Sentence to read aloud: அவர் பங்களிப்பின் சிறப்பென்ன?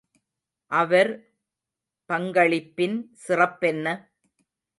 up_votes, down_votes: 2, 0